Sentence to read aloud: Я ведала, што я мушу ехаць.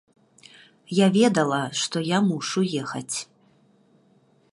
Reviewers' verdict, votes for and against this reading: accepted, 2, 0